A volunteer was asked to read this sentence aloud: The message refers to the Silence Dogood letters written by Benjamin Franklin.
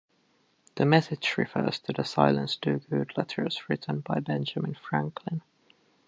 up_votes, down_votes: 2, 0